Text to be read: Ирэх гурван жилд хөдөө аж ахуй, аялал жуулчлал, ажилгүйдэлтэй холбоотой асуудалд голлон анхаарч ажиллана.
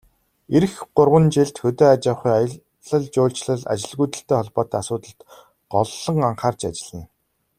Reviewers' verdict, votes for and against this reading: accepted, 2, 0